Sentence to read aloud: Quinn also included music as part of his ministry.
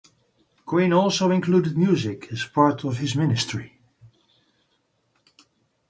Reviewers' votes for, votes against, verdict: 2, 0, accepted